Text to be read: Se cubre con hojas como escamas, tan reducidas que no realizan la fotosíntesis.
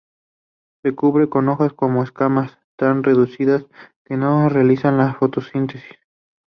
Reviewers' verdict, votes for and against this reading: rejected, 0, 2